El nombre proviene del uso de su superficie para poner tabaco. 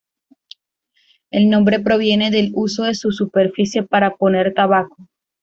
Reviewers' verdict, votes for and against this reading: rejected, 1, 2